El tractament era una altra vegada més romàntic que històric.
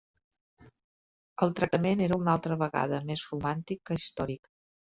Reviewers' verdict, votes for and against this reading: rejected, 0, 2